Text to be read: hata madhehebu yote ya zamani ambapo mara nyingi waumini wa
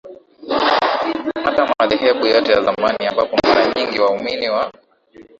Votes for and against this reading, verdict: 0, 2, rejected